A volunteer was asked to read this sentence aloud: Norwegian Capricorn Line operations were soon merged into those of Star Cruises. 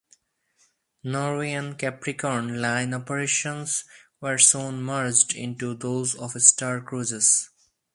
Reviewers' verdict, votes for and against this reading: accepted, 4, 0